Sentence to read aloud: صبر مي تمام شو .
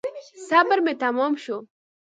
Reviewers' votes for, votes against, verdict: 2, 0, accepted